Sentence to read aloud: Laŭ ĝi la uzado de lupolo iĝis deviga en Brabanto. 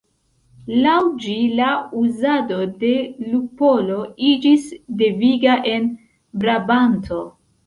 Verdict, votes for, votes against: accepted, 2, 1